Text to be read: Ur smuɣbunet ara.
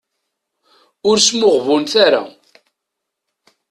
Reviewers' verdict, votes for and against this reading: accepted, 2, 0